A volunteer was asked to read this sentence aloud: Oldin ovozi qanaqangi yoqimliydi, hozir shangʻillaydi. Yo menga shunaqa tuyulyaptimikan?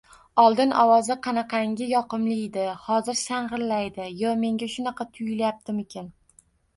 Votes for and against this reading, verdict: 2, 0, accepted